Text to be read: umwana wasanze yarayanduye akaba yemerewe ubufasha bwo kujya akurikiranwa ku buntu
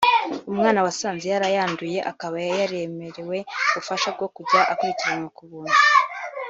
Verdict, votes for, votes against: accepted, 3, 0